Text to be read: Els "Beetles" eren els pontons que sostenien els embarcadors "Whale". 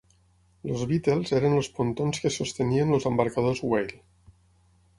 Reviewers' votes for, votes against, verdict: 0, 6, rejected